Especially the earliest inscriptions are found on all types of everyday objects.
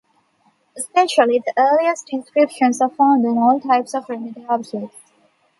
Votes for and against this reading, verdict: 1, 2, rejected